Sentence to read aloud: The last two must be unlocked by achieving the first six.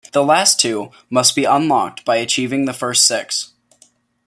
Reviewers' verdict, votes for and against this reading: accepted, 2, 0